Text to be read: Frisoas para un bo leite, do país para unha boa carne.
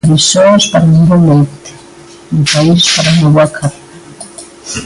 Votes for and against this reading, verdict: 2, 1, accepted